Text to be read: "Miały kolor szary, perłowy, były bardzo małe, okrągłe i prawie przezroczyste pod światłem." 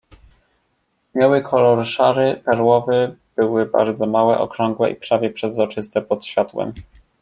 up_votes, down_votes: 2, 0